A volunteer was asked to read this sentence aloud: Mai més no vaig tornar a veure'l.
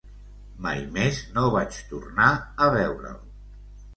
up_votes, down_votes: 2, 0